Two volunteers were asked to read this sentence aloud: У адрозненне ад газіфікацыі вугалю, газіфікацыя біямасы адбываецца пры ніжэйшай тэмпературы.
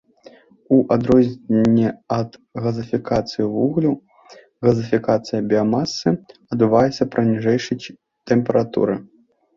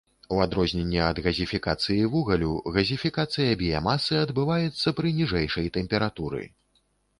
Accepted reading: second